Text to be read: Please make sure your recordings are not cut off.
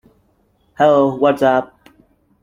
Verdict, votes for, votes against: rejected, 0, 2